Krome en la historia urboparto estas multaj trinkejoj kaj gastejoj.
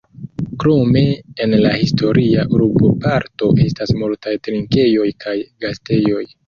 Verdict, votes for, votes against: accepted, 2, 0